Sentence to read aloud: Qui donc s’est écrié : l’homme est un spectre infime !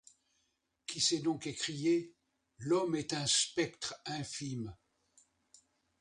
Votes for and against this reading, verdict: 1, 2, rejected